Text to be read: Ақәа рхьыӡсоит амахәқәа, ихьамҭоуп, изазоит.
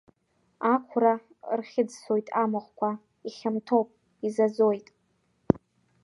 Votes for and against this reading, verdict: 1, 2, rejected